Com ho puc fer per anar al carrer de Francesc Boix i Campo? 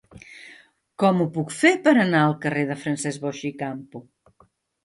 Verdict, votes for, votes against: accepted, 3, 0